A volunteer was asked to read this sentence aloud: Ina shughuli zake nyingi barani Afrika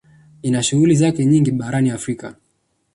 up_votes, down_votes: 2, 1